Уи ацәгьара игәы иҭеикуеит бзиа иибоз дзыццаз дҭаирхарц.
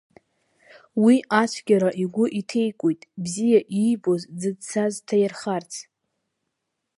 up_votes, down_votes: 0, 2